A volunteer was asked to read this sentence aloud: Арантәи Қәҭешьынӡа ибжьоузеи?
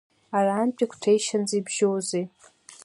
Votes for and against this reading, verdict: 2, 1, accepted